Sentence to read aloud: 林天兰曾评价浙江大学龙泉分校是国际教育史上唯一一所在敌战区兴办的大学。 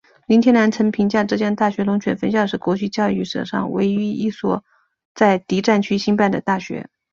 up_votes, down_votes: 3, 0